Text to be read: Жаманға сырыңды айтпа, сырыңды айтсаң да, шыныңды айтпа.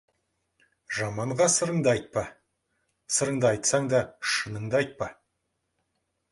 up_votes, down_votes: 2, 0